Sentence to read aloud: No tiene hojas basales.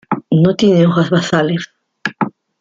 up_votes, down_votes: 2, 1